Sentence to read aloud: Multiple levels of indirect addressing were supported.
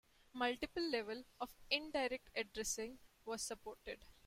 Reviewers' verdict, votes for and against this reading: rejected, 1, 2